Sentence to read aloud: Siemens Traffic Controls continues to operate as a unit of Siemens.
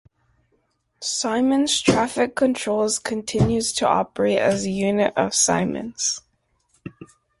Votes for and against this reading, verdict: 2, 0, accepted